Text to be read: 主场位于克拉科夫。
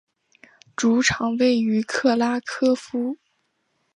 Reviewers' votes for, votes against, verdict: 2, 0, accepted